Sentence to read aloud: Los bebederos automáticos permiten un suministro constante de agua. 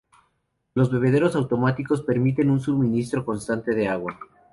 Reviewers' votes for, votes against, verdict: 0, 2, rejected